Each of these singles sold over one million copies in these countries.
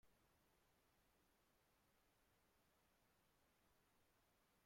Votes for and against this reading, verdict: 0, 2, rejected